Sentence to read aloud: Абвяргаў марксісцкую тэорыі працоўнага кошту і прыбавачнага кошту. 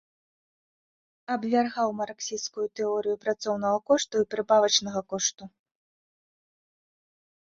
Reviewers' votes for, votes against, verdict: 0, 2, rejected